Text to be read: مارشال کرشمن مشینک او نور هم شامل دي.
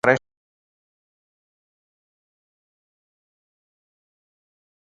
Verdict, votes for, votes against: rejected, 0, 4